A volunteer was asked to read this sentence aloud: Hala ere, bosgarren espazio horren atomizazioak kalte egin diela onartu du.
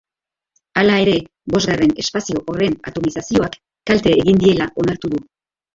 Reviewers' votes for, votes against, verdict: 2, 0, accepted